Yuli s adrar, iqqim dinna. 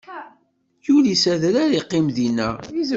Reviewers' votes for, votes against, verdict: 0, 2, rejected